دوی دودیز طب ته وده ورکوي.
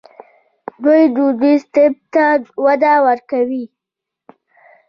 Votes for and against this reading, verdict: 2, 0, accepted